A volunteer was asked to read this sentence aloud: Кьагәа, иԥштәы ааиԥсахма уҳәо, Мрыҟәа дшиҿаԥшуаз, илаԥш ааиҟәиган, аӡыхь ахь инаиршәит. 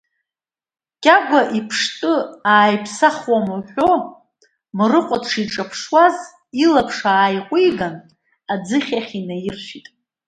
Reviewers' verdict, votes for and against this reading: accepted, 2, 0